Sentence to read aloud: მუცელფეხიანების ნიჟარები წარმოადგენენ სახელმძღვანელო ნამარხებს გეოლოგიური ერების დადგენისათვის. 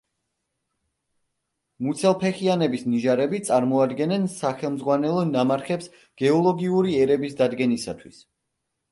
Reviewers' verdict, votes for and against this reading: accepted, 2, 0